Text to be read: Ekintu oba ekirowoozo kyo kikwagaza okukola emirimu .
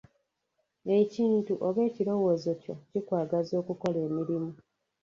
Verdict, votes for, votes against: rejected, 0, 2